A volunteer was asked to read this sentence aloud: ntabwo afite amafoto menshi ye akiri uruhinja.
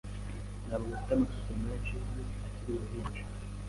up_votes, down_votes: 2, 0